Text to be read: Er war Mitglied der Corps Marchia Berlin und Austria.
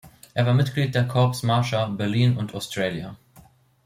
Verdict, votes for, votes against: rejected, 0, 2